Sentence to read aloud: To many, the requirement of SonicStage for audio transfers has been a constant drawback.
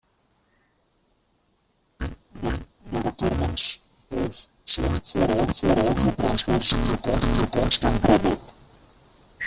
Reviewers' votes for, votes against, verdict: 1, 2, rejected